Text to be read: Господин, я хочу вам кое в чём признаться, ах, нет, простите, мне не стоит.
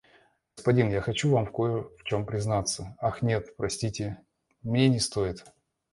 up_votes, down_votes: 2, 1